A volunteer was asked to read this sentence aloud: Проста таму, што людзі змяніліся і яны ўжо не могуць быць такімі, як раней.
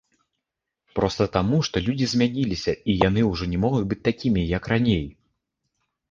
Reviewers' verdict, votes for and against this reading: rejected, 0, 2